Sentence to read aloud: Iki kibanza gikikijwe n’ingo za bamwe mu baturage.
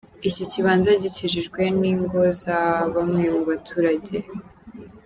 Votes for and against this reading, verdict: 0, 2, rejected